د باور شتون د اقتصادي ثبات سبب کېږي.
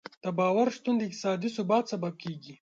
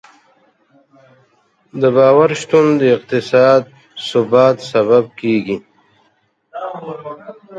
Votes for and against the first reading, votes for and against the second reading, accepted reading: 2, 0, 1, 2, first